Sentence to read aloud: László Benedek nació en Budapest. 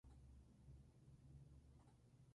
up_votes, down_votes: 2, 4